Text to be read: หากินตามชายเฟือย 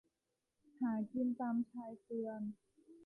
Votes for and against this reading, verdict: 2, 0, accepted